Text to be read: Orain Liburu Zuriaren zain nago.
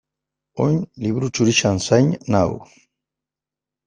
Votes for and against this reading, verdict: 0, 2, rejected